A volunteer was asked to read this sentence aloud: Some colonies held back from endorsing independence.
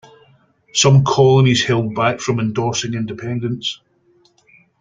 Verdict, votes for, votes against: accepted, 2, 0